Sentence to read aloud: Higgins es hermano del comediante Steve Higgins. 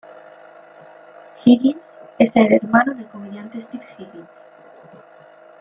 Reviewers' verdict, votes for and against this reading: accepted, 2, 0